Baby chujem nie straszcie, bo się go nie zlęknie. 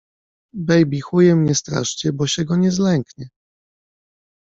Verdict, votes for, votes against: rejected, 0, 2